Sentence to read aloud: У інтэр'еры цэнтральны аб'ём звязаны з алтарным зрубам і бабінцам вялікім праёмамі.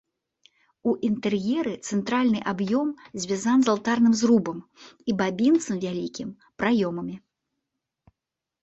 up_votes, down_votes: 0, 2